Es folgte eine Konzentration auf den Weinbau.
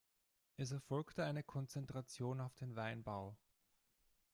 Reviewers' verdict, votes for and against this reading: rejected, 0, 2